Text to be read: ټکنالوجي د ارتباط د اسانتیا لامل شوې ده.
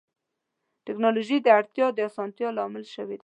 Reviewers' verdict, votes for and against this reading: rejected, 1, 2